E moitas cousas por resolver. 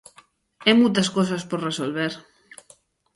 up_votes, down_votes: 0, 2